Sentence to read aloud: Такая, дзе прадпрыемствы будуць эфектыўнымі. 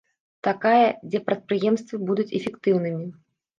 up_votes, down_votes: 2, 0